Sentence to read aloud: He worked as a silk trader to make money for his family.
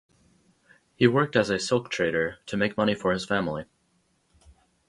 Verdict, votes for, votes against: accepted, 2, 0